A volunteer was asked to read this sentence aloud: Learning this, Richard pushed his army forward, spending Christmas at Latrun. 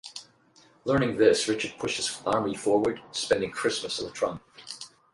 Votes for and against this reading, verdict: 8, 0, accepted